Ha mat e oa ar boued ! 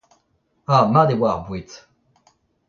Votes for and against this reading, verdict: 1, 2, rejected